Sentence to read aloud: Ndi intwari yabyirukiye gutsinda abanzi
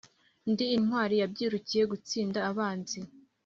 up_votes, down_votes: 2, 0